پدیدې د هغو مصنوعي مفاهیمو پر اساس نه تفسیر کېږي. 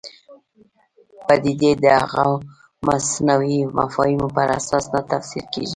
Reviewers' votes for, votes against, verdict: 1, 2, rejected